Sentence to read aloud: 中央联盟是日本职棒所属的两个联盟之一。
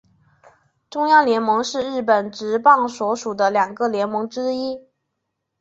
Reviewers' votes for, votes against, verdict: 4, 0, accepted